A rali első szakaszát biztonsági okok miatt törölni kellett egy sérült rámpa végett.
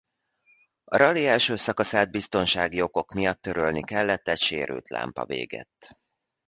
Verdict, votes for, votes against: rejected, 1, 2